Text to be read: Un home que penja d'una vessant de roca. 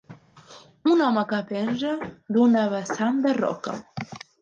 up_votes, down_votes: 2, 1